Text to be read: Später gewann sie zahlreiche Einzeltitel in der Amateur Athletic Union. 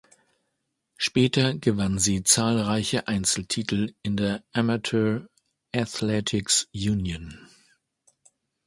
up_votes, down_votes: 0, 2